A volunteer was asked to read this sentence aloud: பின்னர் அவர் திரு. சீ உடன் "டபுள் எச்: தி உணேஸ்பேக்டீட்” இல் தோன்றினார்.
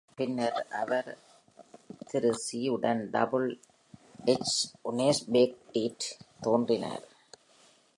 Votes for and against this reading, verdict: 0, 2, rejected